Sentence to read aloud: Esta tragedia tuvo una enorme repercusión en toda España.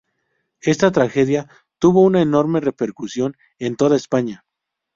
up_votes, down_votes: 2, 0